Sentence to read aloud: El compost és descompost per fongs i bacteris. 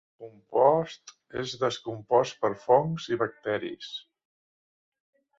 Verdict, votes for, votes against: rejected, 1, 2